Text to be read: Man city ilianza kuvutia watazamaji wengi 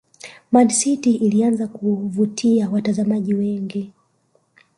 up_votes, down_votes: 1, 2